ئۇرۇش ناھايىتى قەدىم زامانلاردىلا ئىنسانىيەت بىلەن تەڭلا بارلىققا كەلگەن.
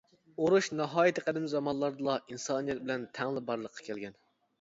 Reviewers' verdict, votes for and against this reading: accepted, 2, 0